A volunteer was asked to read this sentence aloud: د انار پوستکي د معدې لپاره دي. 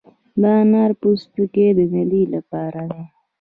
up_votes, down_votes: 2, 0